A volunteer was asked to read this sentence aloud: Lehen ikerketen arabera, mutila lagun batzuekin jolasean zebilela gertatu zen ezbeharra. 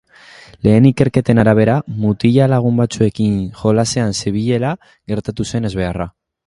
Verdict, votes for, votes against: accepted, 3, 1